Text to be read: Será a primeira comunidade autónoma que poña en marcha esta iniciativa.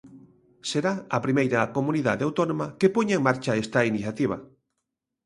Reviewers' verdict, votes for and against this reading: accepted, 2, 0